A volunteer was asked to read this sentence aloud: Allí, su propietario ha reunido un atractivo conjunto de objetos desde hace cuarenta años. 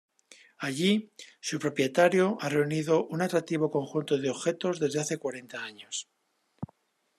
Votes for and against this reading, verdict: 2, 0, accepted